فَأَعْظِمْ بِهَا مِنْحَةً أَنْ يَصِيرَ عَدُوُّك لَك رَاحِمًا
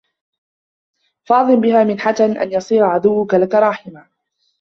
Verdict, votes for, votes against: accepted, 2, 1